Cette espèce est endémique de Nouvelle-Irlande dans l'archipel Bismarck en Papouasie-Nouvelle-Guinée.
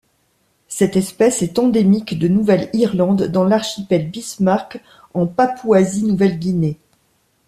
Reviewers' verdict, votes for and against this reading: accepted, 2, 0